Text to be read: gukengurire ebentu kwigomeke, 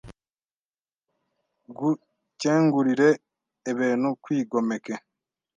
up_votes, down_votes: 1, 2